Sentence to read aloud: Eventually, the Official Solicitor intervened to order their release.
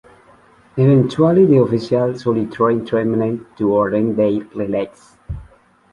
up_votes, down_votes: 0, 2